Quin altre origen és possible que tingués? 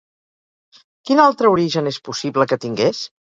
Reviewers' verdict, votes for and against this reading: rejected, 2, 2